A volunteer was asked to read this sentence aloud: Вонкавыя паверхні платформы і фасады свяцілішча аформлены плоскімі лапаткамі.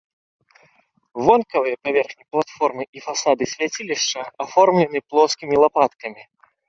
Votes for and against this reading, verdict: 2, 0, accepted